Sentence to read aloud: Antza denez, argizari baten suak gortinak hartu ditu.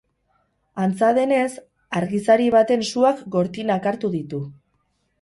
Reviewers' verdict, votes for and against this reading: accepted, 2, 0